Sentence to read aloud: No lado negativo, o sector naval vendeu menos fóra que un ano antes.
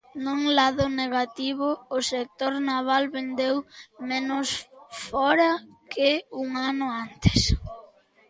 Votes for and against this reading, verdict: 0, 2, rejected